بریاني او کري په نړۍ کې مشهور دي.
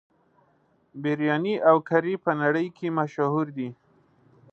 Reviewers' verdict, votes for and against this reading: rejected, 1, 2